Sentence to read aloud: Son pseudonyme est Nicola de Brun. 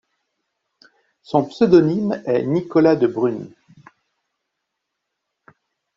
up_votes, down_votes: 1, 2